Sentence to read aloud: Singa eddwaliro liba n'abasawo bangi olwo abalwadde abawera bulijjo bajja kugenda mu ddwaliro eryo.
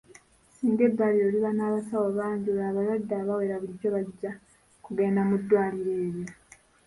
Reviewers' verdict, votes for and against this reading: rejected, 1, 2